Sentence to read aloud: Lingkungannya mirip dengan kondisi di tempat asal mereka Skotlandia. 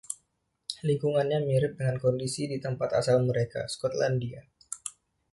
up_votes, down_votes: 2, 0